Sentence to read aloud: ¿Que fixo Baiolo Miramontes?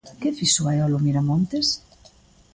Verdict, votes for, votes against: accepted, 2, 0